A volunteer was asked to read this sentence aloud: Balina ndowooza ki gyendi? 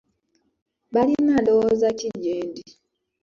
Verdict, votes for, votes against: accepted, 2, 0